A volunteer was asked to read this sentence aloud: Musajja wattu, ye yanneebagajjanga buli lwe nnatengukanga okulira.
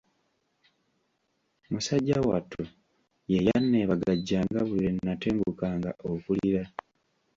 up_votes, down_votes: 3, 1